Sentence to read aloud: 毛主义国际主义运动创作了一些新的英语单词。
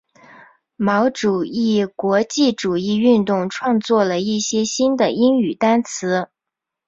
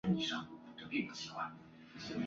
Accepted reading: first